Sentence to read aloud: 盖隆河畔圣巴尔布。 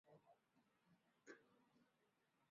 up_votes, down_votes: 0, 2